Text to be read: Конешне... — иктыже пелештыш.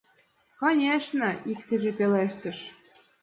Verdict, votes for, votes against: accepted, 2, 0